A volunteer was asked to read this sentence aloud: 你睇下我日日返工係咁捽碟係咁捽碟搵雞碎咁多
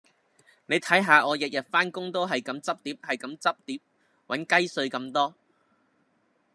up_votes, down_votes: 0, 2